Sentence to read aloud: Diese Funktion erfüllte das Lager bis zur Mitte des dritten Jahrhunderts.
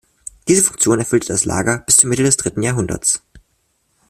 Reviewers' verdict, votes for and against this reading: rejected, 1, 2